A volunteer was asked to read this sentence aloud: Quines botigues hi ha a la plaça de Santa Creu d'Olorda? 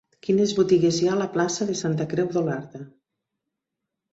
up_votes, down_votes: 2, 3